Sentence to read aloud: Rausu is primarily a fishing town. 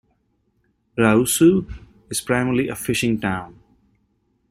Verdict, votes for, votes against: accepted, 2, 0